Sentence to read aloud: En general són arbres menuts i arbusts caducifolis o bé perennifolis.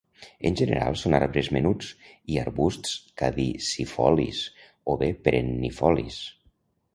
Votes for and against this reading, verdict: 0, 2, rejected